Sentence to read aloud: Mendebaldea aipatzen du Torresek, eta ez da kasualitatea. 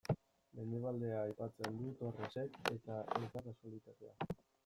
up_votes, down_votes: 0, 2